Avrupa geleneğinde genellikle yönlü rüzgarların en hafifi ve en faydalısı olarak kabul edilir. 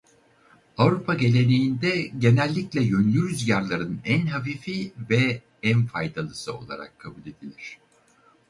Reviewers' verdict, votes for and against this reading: rejected, 2, 2